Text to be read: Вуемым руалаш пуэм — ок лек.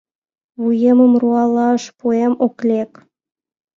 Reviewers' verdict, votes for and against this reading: accepted, 2, 0